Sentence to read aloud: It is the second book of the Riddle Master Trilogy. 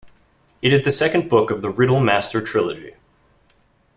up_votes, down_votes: 2, 0